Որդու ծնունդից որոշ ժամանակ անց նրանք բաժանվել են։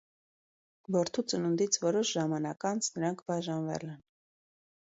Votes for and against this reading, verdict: 2, 0, accepted